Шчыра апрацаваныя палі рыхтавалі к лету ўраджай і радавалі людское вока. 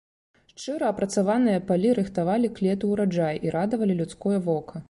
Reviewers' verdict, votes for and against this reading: accepted, 2, 0